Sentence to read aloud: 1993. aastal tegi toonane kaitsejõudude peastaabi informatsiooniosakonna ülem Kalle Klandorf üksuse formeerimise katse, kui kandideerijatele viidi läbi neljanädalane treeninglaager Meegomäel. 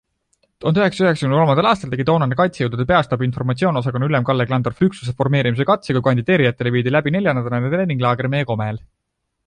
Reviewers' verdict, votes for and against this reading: rejected, 0, 2